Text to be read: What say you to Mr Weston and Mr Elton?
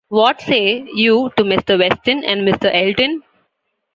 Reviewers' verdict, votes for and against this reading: rejected, 0, 2